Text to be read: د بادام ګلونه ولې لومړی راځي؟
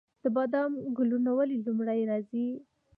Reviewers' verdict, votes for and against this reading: rejected, 1, 2